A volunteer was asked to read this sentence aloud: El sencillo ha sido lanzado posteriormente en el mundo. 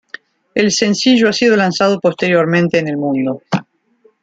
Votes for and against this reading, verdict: 2, 0, accepted